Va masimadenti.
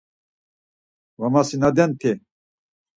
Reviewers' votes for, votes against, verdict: 4, 0, accepted